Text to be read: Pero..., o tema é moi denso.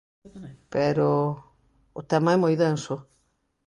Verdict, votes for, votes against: rejected, 1, 2